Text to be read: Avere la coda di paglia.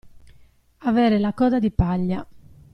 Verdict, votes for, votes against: accepted, 2, 0